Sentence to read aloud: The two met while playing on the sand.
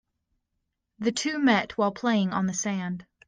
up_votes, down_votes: 2, 0